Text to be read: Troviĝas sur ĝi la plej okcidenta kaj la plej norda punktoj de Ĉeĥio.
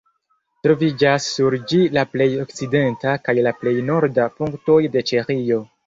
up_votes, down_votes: 2, 0